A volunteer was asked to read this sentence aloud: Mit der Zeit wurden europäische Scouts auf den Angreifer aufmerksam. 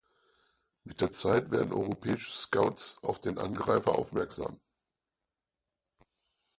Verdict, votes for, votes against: rejected, 2, 4